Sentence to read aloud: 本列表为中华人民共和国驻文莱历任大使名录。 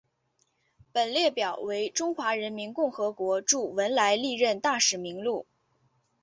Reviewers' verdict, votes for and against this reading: accepted, 3, 0